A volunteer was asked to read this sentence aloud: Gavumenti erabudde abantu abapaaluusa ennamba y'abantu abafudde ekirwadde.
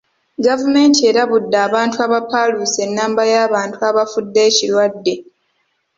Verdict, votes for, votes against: rejected, 1, 3